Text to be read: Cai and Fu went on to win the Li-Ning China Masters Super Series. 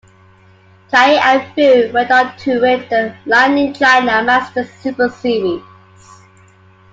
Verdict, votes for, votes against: accepted, 2, 0